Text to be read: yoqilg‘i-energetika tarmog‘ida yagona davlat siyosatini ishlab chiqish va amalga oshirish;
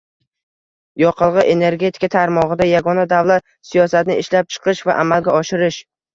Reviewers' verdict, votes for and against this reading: rejected, 1, 2